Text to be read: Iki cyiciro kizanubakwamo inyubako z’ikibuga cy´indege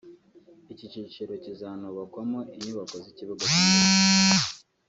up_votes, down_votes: 1, 2